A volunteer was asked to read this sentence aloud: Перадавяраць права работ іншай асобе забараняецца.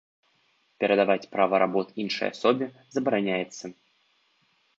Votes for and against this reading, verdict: 2, 3, rejected